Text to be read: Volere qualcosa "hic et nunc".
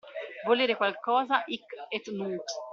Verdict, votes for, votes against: accepted, 2, 0